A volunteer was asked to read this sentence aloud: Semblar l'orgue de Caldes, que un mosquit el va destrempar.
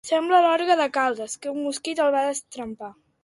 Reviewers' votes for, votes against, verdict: 1, 2, rejected